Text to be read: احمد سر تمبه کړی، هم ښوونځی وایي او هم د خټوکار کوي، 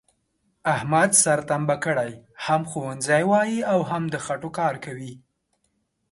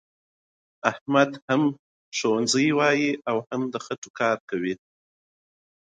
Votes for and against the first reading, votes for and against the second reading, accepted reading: 3, 0, 1, 2, first